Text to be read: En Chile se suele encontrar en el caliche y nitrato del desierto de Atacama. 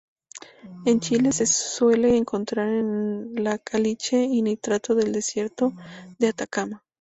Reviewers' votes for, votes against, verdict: 6, 8, rejected